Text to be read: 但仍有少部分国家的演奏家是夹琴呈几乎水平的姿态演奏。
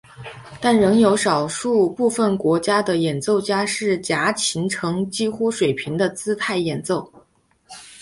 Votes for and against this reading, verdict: 3, 0, accepted